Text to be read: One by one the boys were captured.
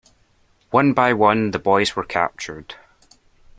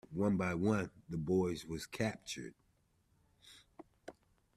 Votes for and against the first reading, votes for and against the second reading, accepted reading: 2, 0, 0, 2, first